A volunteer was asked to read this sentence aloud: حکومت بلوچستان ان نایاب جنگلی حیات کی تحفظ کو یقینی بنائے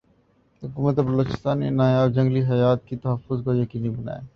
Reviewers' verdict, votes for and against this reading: accepted, 2, 0